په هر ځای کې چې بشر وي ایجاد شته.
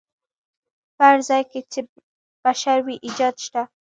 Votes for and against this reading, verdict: 2, 0, accepted